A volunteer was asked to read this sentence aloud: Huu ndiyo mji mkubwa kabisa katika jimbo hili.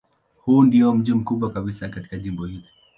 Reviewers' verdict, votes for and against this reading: accepted, 2, 0